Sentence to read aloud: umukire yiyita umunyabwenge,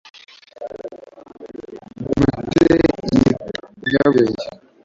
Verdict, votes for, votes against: rejected, 1, 2